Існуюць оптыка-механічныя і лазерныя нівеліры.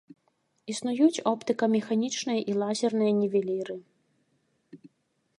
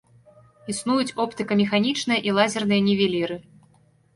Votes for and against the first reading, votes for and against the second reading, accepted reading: 2, 0, 1, 2, first